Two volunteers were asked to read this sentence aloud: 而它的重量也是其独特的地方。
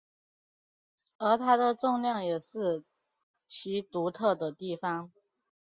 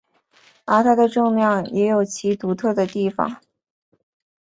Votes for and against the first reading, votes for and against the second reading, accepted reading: 4, 2, 1, 2, first